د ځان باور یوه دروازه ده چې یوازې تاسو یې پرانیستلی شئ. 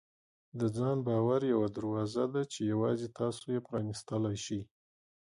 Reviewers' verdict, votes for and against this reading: rejected, 1, 2